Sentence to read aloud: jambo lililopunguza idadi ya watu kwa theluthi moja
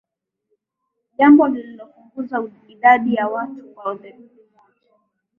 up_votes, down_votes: 7, 3